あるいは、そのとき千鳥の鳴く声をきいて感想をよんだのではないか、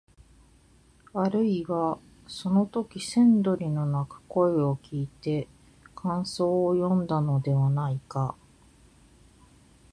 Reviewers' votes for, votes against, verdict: 0, 2, rejected